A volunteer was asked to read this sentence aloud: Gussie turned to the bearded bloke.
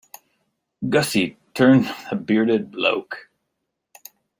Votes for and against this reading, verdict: 0, 2, rejected